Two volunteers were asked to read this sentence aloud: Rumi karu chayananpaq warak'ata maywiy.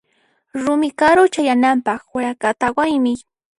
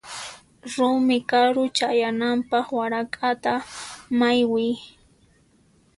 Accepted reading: second